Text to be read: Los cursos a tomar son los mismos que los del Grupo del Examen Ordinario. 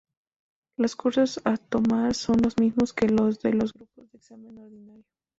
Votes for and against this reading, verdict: 0, 2, rejected